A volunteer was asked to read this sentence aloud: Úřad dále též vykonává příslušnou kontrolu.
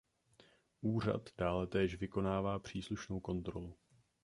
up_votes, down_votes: 3, 0